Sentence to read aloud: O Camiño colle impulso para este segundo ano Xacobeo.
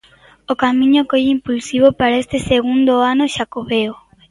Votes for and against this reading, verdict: 0, 2, rejected